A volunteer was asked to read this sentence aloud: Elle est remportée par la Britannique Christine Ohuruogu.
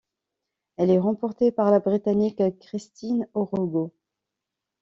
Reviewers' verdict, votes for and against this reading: accepted, 2, 0